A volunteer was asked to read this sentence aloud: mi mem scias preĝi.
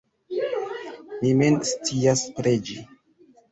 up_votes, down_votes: 2, 0